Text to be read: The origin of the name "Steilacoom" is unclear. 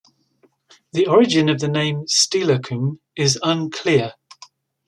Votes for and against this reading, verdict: 2, 0, accepted